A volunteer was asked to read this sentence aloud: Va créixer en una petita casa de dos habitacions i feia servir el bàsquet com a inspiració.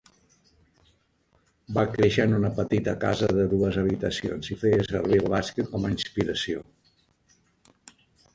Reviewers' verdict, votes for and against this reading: rejected, 0, 2